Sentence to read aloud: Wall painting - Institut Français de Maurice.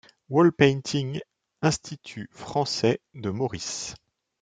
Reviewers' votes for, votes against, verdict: 2, 0, accepted